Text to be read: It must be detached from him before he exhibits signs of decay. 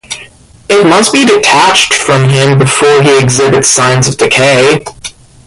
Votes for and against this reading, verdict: 0, 2, rejected